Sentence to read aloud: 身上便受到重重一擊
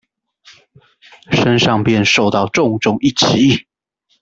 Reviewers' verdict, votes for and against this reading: rejected, 1, 2